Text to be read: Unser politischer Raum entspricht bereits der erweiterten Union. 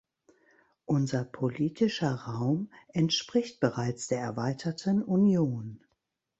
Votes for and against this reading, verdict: 2, 0, accepted